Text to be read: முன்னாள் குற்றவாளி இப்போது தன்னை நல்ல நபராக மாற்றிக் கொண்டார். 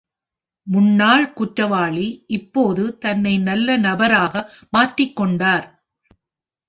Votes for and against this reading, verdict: 2, 0, accepted